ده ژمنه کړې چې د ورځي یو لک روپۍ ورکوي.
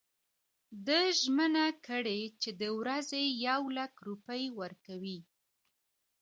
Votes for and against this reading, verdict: 1, 2, rejected